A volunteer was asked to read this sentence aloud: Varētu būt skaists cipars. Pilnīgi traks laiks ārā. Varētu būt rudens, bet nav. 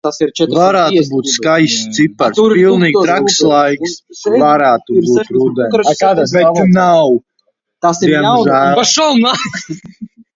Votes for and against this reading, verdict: 0, 2, rejected